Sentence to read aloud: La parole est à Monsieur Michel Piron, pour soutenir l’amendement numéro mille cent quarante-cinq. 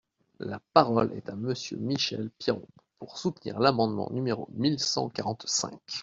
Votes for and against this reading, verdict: 2, 0, accepted